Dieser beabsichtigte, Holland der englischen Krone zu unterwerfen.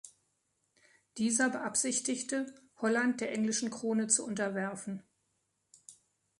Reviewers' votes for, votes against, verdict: 3, 0, accepted